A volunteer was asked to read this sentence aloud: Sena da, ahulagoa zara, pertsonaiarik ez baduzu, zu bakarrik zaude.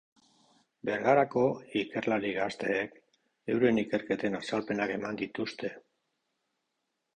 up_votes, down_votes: 0, 3